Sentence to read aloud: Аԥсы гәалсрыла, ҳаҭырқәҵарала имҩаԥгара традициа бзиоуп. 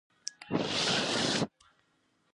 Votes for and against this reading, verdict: 0, 2, rejected